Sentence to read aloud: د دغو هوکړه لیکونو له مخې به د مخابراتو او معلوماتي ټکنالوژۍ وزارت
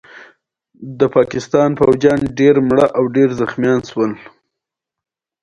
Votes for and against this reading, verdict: 0, 2, rejected